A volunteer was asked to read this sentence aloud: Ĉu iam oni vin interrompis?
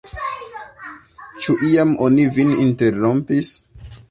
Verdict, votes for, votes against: accepted, 2, 1